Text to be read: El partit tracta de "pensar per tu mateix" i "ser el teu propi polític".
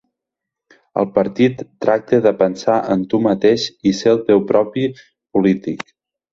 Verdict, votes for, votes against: rejected, 2, 4